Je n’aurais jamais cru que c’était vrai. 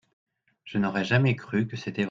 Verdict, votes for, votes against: rejected, 0, 2